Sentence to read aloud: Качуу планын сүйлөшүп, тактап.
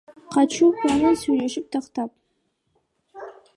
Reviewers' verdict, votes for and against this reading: rejected, 1, 2